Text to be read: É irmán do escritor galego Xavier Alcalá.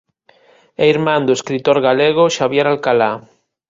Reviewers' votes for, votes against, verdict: 2, 0, accepted